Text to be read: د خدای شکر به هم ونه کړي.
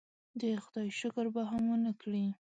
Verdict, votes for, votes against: accepted, 2, 0